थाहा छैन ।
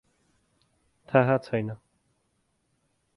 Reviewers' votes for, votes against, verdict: 4, 0, accepted